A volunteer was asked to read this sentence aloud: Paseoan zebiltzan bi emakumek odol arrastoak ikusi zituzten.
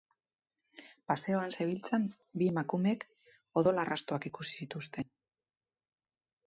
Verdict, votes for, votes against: accepted, 6, 0